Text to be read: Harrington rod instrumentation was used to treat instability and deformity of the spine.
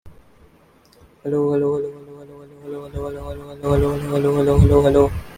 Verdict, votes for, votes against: rejected, 0, 2